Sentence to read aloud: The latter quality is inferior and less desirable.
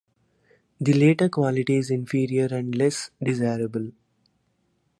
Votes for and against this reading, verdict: 0, 2, rejected